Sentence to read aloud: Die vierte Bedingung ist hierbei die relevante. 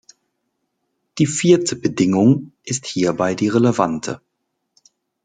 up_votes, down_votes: 2, 0